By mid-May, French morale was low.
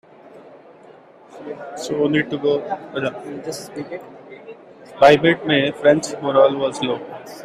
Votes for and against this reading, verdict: 1, 2, rejected